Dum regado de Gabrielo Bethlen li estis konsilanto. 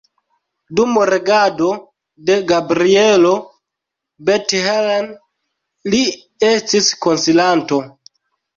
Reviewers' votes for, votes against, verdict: 0, 2, rejected